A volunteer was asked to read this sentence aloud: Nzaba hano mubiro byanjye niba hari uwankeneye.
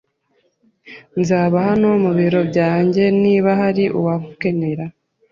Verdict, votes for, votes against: rejected, 0, 2